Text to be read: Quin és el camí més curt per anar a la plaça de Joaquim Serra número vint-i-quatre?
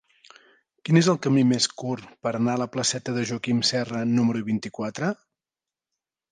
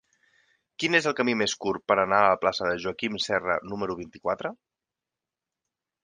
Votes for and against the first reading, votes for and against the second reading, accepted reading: 1, 2, 8, 0, second